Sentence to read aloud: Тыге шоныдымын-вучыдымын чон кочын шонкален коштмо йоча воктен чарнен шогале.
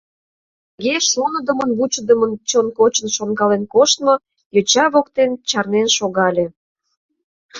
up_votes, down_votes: 0, 2